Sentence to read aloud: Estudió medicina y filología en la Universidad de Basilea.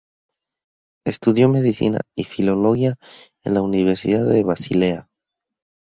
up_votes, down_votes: 4, 0